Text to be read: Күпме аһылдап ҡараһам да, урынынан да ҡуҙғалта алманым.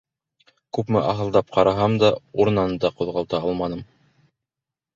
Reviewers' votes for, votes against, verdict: 2, 0, accepted